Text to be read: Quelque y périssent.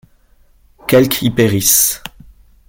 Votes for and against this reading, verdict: 0, 2, rejected